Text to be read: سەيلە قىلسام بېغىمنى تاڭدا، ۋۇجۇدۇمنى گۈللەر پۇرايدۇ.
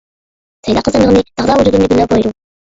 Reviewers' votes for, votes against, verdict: 1, 2, rejected